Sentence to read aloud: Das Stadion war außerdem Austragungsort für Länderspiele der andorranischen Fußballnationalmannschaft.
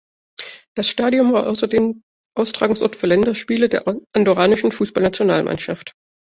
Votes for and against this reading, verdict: 0, 2, rejected